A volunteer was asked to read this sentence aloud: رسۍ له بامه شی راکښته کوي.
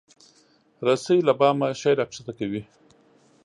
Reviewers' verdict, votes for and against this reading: accepted, 2, 0